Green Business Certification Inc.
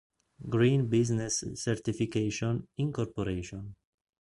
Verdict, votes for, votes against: rejected, 2, 3